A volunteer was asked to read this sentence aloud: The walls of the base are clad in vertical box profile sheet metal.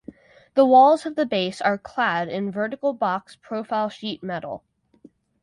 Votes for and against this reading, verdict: 4, 0, accepted